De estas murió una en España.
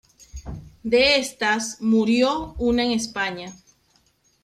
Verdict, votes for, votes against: accepted, 2, 1